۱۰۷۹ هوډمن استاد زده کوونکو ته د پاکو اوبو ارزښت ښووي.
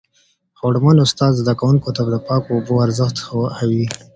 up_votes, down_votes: 0, 2